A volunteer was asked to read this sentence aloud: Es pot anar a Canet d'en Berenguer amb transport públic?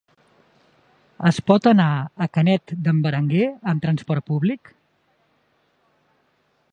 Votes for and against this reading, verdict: 2, 0, accepted